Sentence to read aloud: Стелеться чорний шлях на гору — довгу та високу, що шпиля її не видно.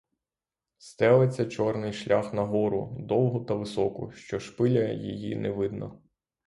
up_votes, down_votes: 6, 0